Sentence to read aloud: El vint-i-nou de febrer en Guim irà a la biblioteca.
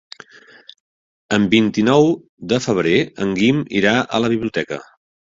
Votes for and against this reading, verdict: 0, 3, rejected